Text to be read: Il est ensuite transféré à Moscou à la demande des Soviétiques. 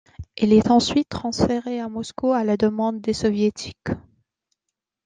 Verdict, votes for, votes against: accepted, 2, 0